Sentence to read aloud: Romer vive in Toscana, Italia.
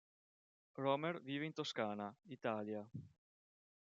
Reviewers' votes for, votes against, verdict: 2, 0, accepted